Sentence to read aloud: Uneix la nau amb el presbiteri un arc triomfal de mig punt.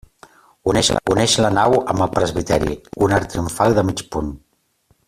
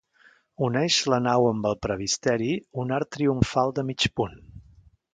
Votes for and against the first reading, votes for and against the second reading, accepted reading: 0, 2, 2, 0, second